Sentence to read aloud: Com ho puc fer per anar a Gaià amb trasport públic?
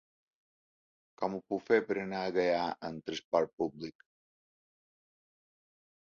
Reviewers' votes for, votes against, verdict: 3, 1, accepted